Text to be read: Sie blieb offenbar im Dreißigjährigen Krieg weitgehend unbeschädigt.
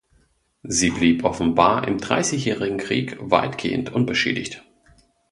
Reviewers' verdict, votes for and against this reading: accepted, 2, 0